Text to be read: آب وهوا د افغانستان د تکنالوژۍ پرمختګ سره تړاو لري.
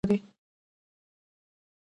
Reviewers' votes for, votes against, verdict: 0, 2, rejected